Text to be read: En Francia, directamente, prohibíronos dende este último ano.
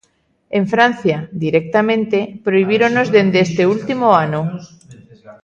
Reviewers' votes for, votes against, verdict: 1, 2, rejected